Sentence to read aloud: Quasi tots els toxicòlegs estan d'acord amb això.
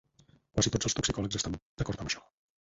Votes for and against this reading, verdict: 0, 4, rejected